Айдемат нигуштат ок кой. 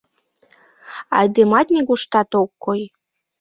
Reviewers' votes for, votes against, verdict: 2, 0, accepted